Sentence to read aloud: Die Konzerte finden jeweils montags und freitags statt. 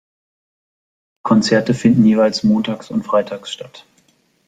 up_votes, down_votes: 0, 2